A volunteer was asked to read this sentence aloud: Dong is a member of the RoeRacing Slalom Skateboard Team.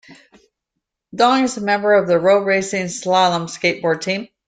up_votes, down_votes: 2, 0